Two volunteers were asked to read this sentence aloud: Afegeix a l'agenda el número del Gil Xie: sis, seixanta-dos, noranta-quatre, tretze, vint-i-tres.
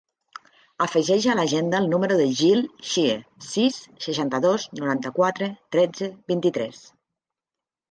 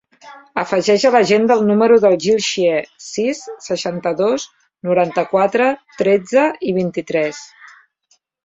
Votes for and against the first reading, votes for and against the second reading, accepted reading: 3, 0, 1, 2, first